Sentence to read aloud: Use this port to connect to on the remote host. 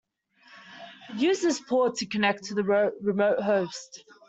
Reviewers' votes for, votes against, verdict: 0, 2, rejected